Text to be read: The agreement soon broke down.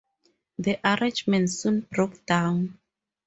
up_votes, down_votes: 0, 2